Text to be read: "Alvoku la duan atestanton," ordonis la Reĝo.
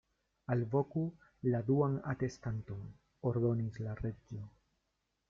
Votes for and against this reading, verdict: 2, 1, accepted